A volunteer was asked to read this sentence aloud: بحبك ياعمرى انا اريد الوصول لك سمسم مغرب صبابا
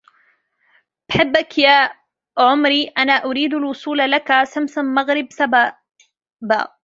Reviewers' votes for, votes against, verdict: 0, 2, rejected